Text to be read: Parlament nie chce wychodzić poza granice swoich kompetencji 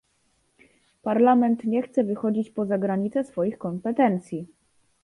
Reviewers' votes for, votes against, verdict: 2, 0, accepted